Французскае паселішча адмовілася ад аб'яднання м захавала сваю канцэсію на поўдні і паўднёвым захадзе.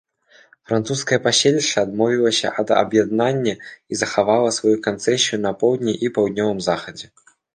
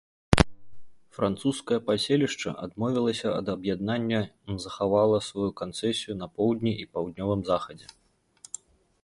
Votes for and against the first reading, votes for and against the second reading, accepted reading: 0, 2, 2, 0, second